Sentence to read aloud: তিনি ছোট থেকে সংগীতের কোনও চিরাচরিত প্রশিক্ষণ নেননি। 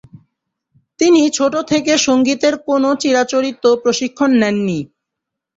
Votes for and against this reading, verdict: 2, 0, accepted